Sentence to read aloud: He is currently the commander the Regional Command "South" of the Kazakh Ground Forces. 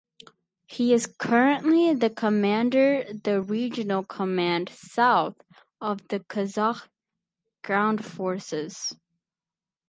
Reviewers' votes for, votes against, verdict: 2, 2, rejected